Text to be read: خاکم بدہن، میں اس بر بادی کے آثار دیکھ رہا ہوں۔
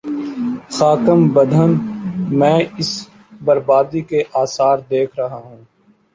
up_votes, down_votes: 2, 0